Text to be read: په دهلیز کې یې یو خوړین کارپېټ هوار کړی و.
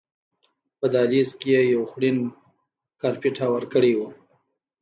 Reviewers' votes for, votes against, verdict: 2, 0, accepted